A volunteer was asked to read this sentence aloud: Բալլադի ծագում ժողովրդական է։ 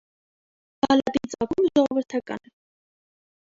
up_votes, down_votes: 1, 2